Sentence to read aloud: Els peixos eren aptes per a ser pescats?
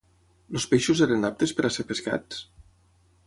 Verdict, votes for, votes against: rejected, 0, 6